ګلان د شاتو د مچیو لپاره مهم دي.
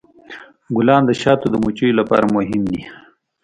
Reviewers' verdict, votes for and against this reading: accepted, 2, 0